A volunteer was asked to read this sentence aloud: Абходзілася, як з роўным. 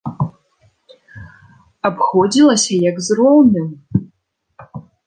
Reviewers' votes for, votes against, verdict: 2, 0, accepted